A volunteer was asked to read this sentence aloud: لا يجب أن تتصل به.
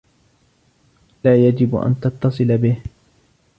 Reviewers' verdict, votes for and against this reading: accepted, 2, 1